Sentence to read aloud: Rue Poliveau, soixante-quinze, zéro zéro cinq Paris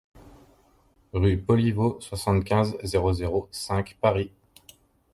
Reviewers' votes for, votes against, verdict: 2, 0, accepted